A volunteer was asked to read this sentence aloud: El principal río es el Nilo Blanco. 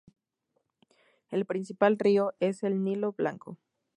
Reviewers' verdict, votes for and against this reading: accepted, 2, 0